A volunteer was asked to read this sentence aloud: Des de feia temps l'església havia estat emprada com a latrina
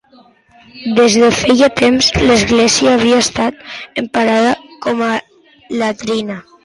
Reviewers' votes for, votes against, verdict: 0, 2, rejected